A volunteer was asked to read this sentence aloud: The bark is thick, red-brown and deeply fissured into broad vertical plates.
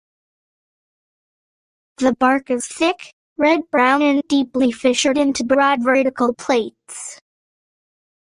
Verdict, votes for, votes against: rejected, 1, 2